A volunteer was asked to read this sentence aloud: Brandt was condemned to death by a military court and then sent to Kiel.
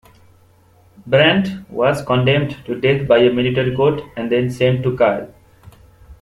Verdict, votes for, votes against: rejected, 0, 2